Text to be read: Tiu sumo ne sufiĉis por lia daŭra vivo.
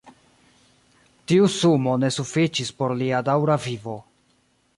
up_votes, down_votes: 2, 1